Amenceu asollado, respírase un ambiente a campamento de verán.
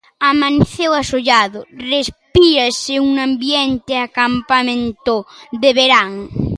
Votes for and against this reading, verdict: 1, 2, rejected